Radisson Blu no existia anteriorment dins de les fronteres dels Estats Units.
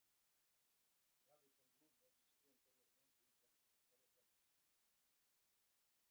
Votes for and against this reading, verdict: 1, 2, rejected